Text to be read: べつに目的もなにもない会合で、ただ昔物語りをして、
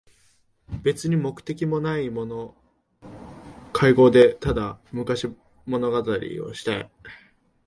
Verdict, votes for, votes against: rejected, 0, 2